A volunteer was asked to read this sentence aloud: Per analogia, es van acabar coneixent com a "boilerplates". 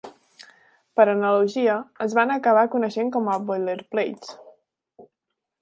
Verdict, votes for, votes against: accepted, 2, 0